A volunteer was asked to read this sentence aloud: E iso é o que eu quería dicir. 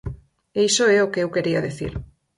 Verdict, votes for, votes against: rejected, 2, 4